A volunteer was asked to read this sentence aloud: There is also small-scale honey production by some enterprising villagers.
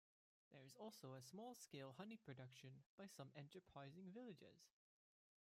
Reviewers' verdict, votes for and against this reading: rejected, 0, 2